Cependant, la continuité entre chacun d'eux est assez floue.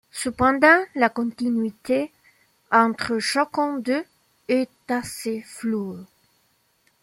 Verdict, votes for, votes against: rejected, 1, 2